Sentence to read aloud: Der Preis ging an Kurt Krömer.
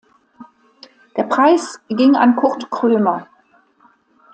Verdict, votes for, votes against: accepted, 2, 0